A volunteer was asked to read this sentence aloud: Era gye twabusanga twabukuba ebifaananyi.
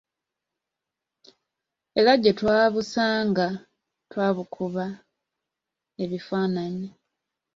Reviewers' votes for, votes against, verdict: 2, 1, accepted